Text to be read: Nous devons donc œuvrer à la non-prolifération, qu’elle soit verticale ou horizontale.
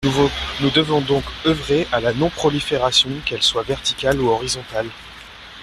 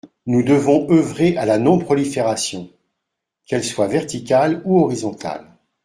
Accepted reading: first